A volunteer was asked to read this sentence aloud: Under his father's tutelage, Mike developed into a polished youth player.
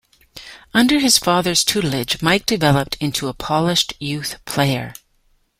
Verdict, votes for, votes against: accepted, 2, 0